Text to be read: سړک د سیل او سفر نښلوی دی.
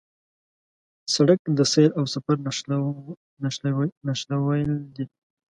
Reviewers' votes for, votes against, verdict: 1, 3, rejected